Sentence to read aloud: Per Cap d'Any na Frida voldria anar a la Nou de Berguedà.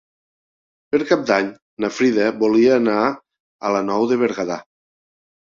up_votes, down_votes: 1, 2